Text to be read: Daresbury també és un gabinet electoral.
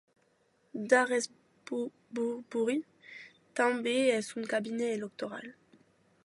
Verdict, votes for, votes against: rejected, 0, 2